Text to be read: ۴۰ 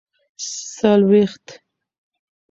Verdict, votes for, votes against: rejected, 0, 2